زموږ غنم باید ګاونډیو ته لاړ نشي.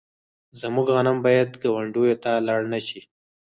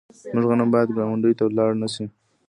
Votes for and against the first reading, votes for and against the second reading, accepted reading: 4, 0, 0, 2, first